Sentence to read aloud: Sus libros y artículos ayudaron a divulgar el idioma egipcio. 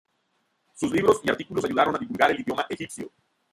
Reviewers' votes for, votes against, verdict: 0, 2, rejected